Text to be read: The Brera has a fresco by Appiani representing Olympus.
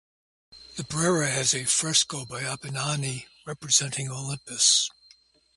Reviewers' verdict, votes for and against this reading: rejected, 0, 2